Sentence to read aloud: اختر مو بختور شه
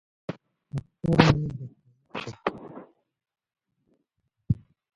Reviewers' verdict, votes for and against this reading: rejected, 0, 2